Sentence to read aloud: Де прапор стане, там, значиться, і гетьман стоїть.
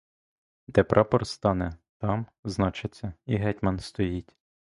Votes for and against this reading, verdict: 2, 0, accepted